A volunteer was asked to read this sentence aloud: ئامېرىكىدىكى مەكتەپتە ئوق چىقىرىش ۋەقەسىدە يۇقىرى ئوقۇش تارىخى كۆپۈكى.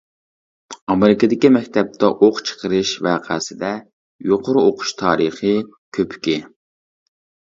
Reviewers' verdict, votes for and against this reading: accepted, 2, 0